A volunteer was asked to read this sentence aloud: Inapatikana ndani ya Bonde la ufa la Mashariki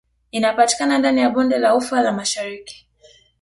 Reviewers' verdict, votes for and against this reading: rejected, 1, 2